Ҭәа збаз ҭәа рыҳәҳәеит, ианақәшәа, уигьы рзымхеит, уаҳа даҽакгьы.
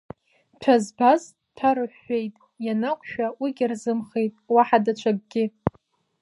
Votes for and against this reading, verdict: 1, 2, rejected